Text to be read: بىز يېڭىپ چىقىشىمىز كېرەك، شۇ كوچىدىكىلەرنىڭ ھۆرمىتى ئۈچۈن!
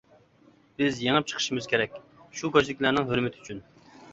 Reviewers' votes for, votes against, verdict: 2, 0, accepted